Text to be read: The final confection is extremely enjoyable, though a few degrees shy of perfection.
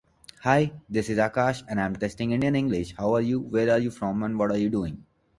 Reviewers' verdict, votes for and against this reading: rejected, 1, 2